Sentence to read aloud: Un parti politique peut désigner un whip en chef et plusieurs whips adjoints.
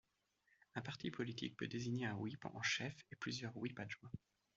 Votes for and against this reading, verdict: 2, 1, accepted